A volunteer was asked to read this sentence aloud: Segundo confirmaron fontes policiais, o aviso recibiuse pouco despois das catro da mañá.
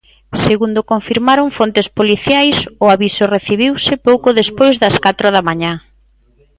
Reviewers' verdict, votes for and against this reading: accepted, 2, 0